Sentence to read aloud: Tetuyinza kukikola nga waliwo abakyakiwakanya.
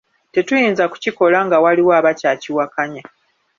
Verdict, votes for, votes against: accepted, 2, 0